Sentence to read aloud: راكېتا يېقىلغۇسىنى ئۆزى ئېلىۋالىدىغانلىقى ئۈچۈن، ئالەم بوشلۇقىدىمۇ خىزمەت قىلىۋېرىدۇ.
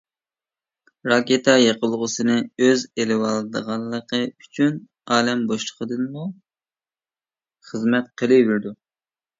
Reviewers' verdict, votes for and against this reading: rejected, 0, 2